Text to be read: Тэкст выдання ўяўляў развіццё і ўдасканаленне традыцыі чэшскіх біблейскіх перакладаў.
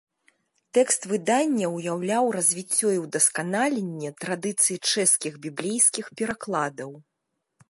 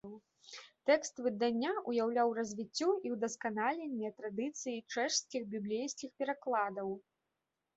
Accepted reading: first